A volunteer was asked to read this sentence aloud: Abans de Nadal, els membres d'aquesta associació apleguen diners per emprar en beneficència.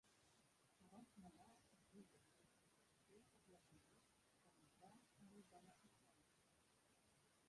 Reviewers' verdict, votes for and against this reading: rejected, 2, 3